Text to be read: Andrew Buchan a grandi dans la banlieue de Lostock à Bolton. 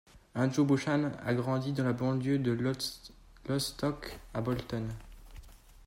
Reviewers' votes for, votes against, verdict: 0, 2, rejected